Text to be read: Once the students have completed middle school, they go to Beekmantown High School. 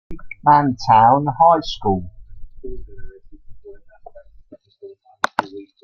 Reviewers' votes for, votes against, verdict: 0, 2, rejected